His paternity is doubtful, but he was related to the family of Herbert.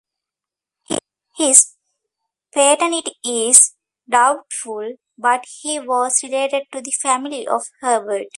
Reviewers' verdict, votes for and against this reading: rejected, 1, 2